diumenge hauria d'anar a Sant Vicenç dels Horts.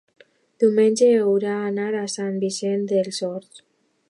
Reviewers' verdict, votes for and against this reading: rejected, 0, 2